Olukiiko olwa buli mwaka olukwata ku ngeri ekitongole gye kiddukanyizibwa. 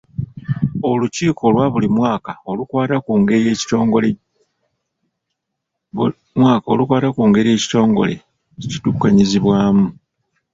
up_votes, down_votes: 1, 2